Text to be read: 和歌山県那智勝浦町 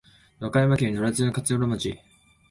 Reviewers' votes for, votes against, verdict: 3, 2, accepted